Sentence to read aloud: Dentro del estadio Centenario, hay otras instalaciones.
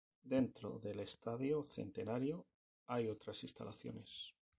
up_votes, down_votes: 2, 2